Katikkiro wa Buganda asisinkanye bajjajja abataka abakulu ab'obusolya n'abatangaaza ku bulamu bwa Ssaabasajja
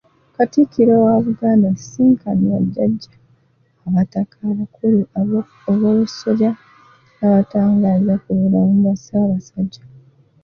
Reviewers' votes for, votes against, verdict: 0, 2, rejected